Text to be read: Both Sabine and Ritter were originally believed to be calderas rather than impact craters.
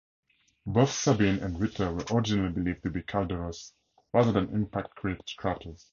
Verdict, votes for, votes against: rejected, 0, 4